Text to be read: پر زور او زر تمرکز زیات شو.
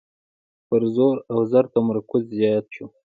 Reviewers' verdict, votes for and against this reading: accepted, 2, 0